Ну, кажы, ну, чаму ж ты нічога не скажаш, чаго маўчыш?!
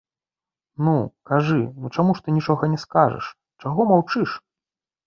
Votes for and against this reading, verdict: 2, 0, accepted